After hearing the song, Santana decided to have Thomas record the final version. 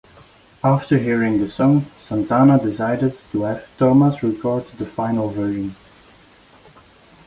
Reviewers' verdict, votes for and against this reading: accepted, 2, 0